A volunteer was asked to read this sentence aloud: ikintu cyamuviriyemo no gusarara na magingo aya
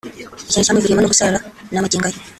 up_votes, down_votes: 1, 2